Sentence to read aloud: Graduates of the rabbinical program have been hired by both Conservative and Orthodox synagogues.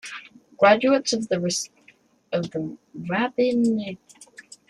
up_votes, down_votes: 0, 2